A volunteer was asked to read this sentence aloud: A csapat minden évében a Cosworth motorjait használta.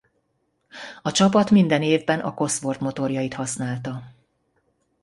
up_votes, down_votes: 1, 2